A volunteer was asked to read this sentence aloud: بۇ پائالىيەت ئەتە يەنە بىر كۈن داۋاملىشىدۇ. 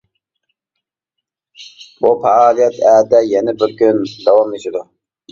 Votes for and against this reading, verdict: 2, 1, accepted